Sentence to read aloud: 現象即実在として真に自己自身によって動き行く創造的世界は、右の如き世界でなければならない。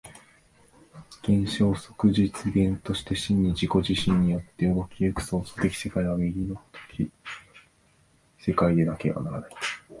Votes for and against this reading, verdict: 1, 3, rejected